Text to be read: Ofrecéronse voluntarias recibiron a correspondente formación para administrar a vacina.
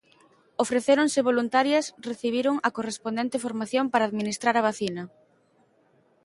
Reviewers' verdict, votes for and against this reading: accepted, 2, 0